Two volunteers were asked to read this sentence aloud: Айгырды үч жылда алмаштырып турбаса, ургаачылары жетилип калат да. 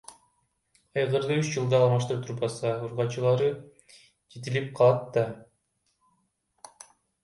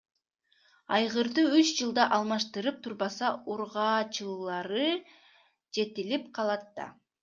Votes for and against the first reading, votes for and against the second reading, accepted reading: 0, 2, 2, 0, second